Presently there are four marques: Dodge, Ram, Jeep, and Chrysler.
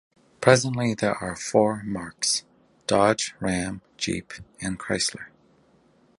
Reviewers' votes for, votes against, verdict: 2, 0, accepted